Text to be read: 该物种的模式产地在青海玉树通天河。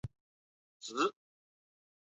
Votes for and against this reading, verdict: 0, 2, rejected